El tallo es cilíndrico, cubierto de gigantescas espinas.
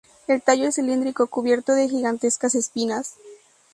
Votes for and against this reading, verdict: 2, 2, rejected